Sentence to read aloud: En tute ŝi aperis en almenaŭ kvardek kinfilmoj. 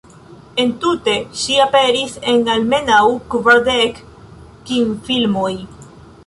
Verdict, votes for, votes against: rejected, 0, 2